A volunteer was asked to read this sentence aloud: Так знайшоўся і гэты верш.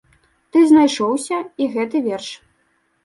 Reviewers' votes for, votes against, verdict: 0, 2, rejected